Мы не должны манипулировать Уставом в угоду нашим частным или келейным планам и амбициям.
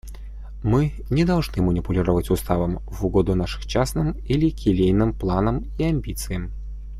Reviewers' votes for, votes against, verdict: 2, 0, accepted